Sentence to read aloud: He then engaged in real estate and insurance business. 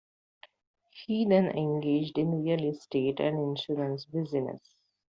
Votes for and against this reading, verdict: 2, 0, accepted